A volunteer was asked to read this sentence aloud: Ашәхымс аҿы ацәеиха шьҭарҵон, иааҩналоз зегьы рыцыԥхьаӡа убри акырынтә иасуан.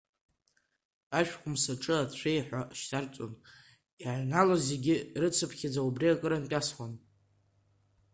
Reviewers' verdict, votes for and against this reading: accepted, 2, 1